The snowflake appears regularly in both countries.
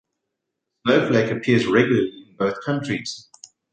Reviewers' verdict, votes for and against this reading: accepted, 2, 1